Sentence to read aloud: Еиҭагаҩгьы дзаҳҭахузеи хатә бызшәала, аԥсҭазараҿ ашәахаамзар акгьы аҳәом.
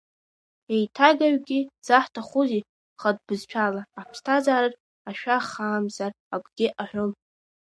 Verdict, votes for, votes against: accepted, 2, 0